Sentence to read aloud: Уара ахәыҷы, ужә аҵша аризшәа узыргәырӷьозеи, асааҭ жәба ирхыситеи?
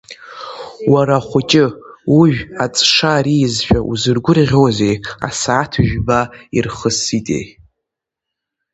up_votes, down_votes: 2, 0